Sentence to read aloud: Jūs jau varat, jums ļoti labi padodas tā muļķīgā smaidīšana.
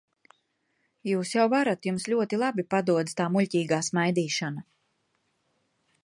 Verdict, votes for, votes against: accepted, 2, 0